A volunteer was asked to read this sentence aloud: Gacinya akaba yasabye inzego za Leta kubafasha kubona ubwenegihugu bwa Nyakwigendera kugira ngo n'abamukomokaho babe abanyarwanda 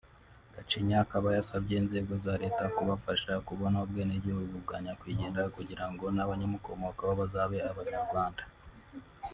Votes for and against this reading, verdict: 3, 1, accepted